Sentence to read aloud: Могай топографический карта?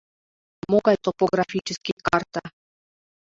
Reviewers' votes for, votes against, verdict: 2, 0, accepted